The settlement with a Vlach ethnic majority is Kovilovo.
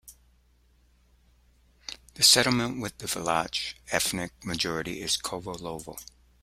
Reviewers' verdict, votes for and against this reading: accepted, 2, 0